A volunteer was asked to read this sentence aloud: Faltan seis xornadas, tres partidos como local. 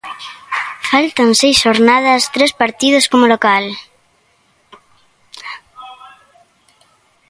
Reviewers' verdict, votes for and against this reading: accepted, 2, 0